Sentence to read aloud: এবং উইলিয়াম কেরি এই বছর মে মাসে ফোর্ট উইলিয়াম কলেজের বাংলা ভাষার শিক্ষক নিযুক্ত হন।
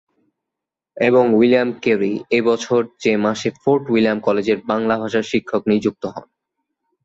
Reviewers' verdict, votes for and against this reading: rejected, 0, 2